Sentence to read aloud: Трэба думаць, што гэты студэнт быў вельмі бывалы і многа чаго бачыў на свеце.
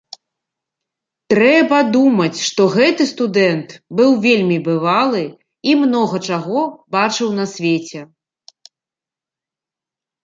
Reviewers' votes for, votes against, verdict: 2, 0, accepted